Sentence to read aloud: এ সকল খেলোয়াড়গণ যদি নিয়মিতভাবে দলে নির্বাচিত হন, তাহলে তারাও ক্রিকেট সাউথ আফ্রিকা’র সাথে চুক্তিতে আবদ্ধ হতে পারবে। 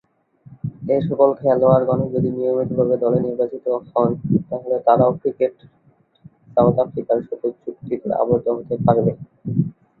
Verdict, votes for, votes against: rejected, 0, 2